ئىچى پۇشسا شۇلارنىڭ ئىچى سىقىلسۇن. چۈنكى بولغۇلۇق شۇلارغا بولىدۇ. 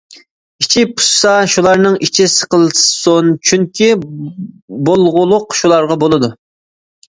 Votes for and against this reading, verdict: 2, 0, accepted